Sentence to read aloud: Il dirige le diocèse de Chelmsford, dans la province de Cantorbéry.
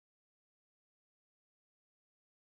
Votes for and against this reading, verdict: 0, 2, rejected